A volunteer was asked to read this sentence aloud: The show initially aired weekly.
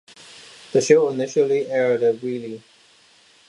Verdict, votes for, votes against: rejected, 1, 2